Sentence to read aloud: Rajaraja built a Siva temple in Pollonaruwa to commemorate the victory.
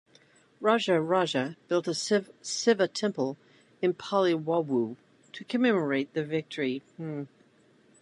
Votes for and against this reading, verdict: 0, 2, rejected